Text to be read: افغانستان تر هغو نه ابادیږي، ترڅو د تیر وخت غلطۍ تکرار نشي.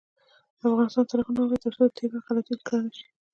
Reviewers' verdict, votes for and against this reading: accepted, 2, 1